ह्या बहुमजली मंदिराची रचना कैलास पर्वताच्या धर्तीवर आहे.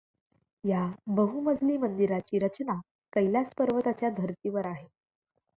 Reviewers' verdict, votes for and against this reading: accepted, 2, 0